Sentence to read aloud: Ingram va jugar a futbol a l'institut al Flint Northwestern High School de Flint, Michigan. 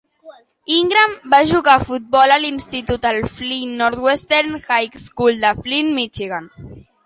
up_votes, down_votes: 2, 0